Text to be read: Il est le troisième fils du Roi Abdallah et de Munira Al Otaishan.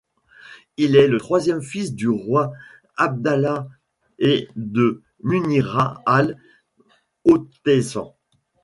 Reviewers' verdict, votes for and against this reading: rejected, 1, 2